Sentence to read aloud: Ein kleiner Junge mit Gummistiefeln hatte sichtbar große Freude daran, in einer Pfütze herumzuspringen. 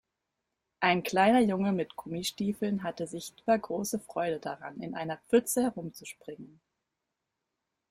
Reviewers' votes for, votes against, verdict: 2, 0, accepted